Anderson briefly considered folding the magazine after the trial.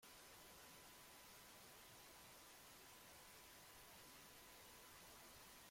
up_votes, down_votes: 0, 2